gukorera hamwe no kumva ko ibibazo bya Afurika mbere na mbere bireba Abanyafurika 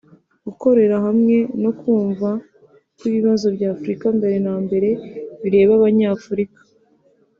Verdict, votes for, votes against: accepted, 2, 0